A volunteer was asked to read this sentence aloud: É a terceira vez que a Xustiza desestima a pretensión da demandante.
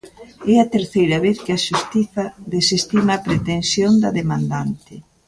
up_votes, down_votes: 3, 0